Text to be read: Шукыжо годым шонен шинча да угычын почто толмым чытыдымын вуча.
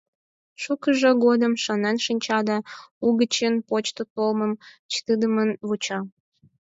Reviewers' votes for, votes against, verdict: 4, 2, accepted